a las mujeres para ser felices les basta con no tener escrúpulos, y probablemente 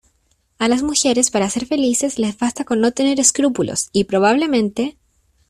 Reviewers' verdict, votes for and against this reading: accepted, 2, 1